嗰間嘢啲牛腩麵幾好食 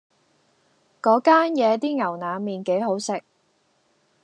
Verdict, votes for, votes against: accepted, 2, 0